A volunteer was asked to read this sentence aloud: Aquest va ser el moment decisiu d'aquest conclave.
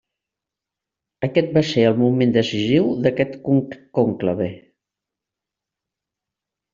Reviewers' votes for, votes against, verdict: 2, 3, rejected